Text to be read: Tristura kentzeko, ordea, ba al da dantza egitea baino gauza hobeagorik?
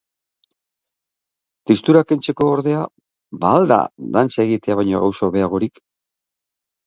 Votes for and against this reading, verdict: 3, 3, rejected